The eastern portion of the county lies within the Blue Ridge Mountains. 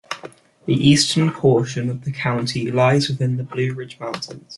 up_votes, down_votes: 2, 0